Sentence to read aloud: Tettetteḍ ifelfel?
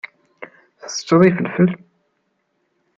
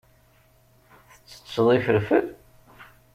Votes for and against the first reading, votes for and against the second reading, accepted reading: 1, 2, 2, 1, second